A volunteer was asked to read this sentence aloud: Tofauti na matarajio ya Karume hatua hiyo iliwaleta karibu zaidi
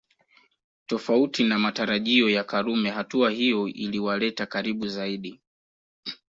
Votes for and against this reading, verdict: 2, 0, accepted